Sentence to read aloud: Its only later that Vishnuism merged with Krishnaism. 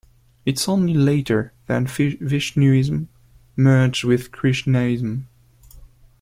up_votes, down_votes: 0, 2